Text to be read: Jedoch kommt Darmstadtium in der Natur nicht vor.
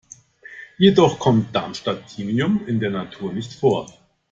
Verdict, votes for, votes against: rejected, 0, 2